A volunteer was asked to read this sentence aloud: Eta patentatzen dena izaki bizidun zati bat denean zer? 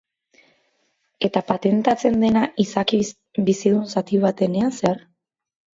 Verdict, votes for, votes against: rejected, 4, 6